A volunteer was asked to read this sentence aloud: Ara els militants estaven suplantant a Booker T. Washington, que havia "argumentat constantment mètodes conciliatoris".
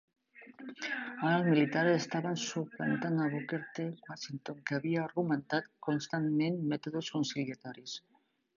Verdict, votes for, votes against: rejected, 0, 3